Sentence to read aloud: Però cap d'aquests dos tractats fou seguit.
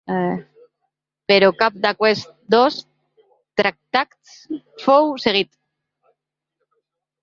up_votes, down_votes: 0, 2